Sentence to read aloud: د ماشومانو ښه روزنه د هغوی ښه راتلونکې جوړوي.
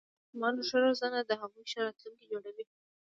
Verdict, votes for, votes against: rejected, 1, 2